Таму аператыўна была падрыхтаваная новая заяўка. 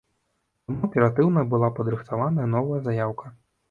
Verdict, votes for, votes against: rejected, 1, 2